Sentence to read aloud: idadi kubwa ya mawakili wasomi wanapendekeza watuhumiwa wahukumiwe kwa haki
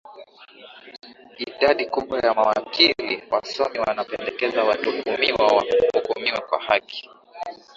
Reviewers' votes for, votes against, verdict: 3, 4, rejected